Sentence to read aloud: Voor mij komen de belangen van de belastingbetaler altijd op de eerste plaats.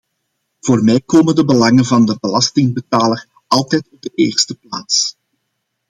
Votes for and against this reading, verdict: 1, 2, rejected